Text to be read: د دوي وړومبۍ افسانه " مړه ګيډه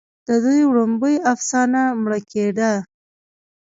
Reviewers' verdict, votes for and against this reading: rejected, 1, 2